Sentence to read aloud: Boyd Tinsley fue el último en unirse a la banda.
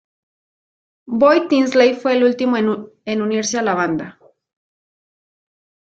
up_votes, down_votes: 0, 2